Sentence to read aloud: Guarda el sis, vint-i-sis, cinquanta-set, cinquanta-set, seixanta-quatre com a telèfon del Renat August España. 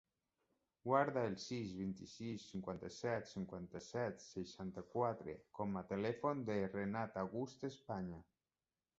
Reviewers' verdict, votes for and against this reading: accepted, 2, 0